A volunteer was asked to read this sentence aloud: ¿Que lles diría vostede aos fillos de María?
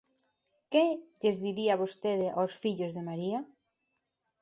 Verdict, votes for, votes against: accepted, 2, 1